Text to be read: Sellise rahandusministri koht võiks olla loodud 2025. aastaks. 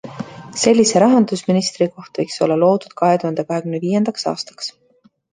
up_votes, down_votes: 0, 2